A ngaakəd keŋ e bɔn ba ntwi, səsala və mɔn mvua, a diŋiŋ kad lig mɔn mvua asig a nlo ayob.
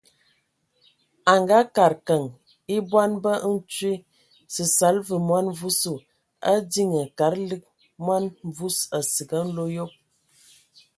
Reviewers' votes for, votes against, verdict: 2, 0, accepted